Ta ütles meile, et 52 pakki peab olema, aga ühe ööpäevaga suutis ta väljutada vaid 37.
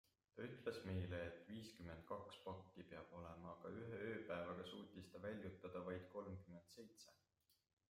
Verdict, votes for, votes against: rejected, 0, 2